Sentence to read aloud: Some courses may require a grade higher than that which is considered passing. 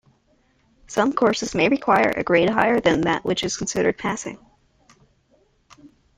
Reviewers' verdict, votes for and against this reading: accepted, 2, 1